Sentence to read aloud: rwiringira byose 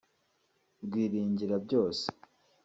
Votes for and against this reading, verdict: 2, 0, accepted